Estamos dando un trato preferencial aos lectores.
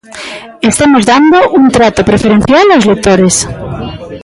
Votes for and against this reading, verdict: 2, 3, rejected